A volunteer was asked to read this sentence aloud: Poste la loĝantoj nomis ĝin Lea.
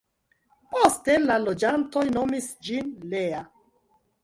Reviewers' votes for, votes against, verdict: 2, 0, accepted